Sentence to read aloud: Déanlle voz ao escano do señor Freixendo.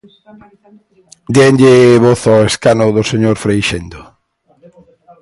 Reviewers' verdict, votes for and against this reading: rejected, 1, 2